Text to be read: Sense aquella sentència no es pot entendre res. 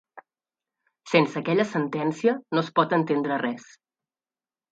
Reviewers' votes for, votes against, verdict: 2, 0, accepted